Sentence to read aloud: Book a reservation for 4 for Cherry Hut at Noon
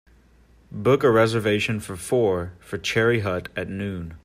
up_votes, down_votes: 0, 2